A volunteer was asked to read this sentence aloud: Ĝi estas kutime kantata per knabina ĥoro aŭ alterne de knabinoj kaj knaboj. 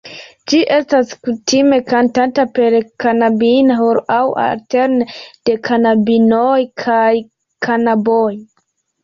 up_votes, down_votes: 2, 0